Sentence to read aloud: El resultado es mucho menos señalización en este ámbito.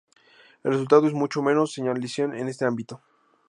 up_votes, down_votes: 2, 0